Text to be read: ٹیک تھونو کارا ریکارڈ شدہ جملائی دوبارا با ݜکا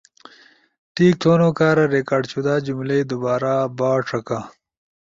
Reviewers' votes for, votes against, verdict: 3, 0, accepted